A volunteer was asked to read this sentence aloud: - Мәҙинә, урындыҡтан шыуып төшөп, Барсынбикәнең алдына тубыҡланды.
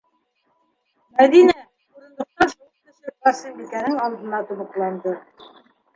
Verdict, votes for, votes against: rejected, 1, 2